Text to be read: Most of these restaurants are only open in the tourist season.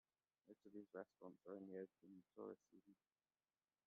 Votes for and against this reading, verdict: 0, 2, rejected